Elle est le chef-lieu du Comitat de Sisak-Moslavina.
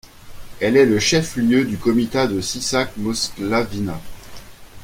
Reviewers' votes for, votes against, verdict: 2, 0, accepted